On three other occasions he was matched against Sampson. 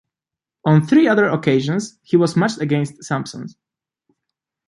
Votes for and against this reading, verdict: 2, 0, accepted